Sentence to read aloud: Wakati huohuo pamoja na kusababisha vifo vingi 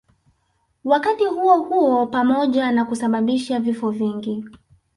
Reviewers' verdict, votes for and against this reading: accepted, 3, 0